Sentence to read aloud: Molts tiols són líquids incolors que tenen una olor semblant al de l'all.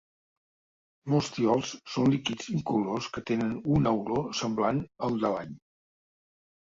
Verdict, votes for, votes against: accepted, 2, 0